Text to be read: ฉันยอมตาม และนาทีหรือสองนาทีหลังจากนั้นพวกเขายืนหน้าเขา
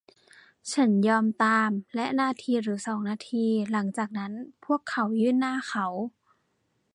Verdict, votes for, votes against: rejected, 0, 2